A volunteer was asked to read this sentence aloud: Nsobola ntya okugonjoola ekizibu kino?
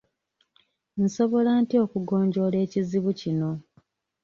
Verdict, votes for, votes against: accepted, 2, 0